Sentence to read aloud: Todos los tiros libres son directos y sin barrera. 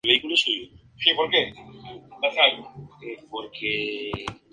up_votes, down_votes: 0, 2